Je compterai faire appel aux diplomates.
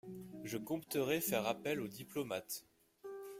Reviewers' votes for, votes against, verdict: 1, 2, rejected